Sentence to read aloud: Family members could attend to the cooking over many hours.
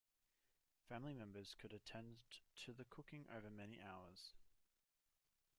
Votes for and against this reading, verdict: 0, 2, rejected